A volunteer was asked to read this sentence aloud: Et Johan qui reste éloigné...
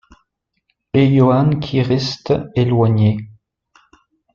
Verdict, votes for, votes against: rejected, 0, 2